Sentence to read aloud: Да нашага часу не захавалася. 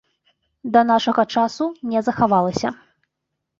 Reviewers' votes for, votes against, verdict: 2, 0, accepted